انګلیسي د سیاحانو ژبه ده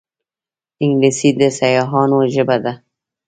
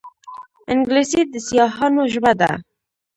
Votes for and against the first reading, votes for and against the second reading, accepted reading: 2, 1, 0, 2, first